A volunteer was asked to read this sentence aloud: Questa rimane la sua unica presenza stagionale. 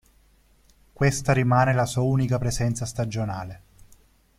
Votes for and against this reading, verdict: 2, 0, accepted